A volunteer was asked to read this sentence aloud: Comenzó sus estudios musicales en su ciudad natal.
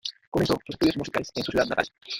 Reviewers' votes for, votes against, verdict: 0, 2, rejected